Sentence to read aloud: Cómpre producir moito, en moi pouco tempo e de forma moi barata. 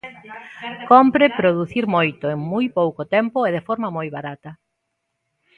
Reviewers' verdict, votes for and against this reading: rejected, 0, 2